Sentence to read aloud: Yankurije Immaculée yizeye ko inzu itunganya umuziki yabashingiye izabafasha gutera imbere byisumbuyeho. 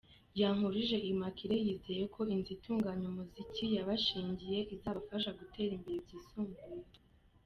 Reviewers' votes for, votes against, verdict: 2, 1, accepted